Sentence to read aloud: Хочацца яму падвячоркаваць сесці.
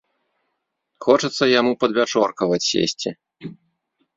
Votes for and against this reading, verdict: 2, 0, accepted